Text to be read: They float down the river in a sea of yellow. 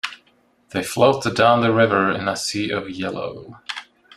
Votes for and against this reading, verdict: 0, 2, rejected